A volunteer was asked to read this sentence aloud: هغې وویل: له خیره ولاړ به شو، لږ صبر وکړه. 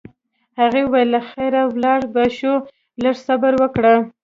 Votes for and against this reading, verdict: 1, 2, rejected